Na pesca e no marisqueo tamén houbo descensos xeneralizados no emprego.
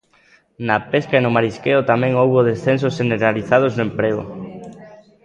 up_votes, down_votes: 2, 1